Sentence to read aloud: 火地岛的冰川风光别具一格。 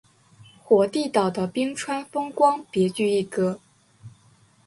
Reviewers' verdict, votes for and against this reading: accepted, 2, 0